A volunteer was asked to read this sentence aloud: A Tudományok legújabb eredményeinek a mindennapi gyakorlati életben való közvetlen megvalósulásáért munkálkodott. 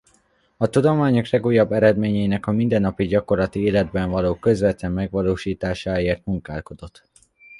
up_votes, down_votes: 1, 2